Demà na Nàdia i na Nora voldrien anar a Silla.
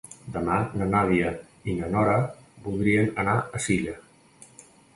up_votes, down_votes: 2, 0